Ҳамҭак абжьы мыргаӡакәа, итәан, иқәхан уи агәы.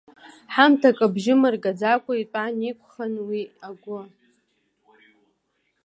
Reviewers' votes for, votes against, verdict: 2, 0, accepted